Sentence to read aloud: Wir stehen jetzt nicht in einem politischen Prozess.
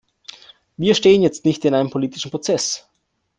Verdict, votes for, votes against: accepted, 2, 0